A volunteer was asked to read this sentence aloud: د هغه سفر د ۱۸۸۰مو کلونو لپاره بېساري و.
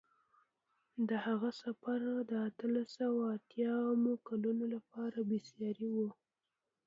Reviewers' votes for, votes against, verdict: 0, 2, rejected